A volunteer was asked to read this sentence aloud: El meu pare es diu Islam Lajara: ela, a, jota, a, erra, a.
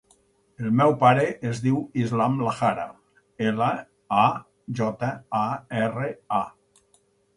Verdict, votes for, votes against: accepted, 4, 2